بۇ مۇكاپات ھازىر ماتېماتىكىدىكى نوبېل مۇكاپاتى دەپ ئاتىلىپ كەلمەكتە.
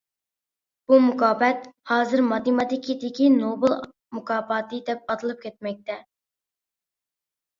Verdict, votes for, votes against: accepted, 2, 0